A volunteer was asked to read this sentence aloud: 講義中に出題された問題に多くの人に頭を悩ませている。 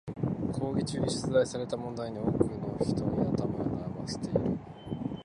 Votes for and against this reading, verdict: 1, 2, rejected